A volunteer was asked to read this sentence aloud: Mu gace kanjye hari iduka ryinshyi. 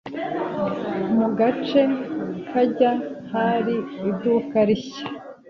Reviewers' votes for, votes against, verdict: 1, 2, rejected